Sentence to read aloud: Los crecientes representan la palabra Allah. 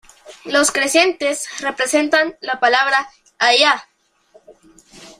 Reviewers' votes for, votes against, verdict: 2, 1, accepted